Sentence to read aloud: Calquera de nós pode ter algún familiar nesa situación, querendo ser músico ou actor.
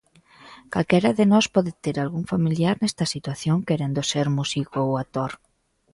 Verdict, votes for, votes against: rejected, 0, 2